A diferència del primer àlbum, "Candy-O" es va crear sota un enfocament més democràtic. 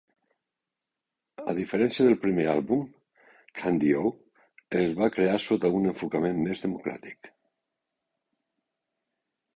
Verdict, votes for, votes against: accepted, 2, 0